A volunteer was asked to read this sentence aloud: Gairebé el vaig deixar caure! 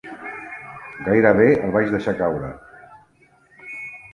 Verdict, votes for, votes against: accepted, 3, 0